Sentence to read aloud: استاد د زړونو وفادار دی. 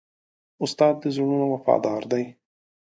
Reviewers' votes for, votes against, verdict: 2, 0, accepted